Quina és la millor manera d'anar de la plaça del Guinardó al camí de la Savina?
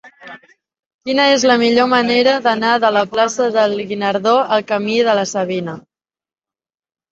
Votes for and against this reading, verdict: 0, 2, rejected